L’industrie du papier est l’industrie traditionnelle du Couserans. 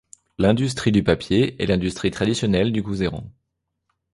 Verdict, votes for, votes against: rejected, 0, 2